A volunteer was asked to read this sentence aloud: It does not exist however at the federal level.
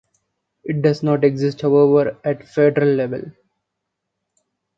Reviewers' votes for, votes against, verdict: 0, 2, rejected